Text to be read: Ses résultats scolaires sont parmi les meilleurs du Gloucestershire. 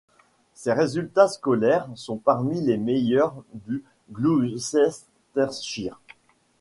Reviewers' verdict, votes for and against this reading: rejected, 0, 3